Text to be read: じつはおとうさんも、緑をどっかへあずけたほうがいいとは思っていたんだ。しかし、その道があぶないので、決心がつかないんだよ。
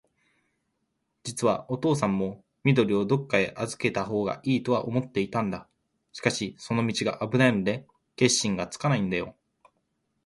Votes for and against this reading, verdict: 2, 0, accepted